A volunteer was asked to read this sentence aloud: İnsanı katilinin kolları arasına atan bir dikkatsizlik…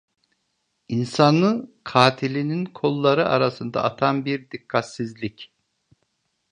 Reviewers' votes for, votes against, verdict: 1, 2, rejected